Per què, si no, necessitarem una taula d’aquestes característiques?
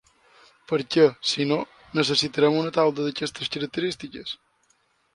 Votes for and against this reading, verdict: 2, 0, accepted